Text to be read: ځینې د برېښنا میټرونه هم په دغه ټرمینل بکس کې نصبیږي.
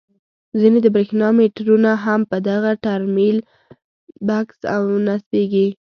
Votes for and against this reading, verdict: 1, 2, rejected